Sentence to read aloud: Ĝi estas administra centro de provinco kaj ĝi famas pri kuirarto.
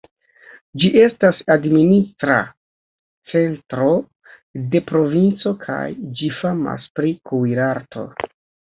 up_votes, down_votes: 2, 0